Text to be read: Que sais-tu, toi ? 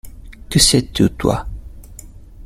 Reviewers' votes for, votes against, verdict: 1, 2, rejected